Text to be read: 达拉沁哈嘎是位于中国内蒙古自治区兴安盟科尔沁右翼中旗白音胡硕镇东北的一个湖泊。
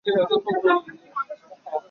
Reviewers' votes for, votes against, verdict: 3, 2, accepted